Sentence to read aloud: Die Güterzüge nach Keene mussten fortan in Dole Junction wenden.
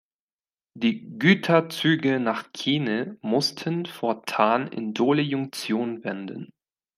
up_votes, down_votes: 0, 2